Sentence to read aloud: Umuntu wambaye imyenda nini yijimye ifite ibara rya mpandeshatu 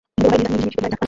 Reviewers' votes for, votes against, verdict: 0, 3, rejected